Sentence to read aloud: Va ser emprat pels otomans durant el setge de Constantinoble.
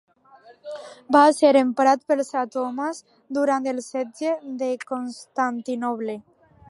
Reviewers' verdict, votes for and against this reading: rejected, 0, 2